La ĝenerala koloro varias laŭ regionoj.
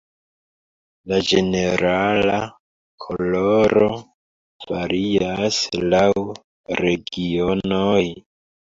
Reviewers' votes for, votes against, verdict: 0, 2, rejected